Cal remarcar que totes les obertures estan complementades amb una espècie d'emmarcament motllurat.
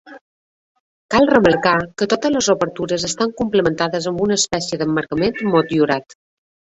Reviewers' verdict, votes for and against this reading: accepted, 2, 0